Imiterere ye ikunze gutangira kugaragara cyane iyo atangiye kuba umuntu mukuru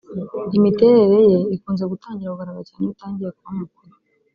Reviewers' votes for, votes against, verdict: 0, 2, rejected